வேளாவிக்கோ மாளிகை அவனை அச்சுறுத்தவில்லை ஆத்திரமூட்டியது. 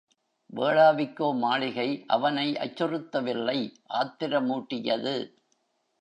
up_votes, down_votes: 2, 0